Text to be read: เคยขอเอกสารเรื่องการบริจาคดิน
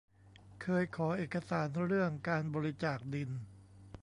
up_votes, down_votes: 2, 0